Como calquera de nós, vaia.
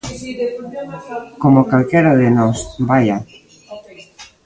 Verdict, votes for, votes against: rejected, 0, 2